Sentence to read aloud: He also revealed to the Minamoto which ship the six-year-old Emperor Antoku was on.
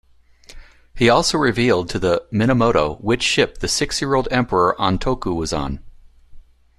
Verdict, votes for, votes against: accepted, 2, 0